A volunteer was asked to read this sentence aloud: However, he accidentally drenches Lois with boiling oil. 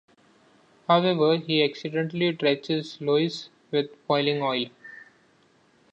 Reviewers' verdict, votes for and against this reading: accepted, 2, 0